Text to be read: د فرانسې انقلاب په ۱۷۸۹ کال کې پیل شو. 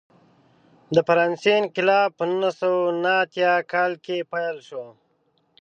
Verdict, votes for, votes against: rejected, 0, 2